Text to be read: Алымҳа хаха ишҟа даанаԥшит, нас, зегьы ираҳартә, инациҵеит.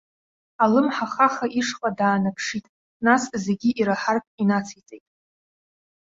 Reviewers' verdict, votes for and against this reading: accepted, 2, 0